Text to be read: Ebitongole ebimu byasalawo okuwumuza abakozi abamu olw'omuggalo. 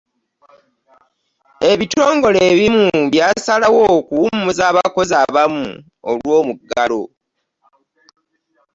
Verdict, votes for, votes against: accepted, 3, 0